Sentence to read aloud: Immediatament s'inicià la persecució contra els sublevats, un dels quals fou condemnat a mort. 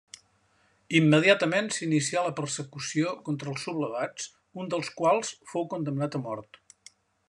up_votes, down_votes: 1, 2